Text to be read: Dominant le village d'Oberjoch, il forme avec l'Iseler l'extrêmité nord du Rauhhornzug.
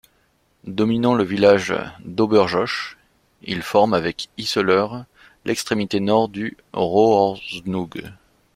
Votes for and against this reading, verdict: 0, 2, rejected